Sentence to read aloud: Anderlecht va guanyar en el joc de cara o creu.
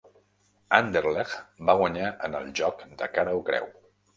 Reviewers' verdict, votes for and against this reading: rejected, 0, 2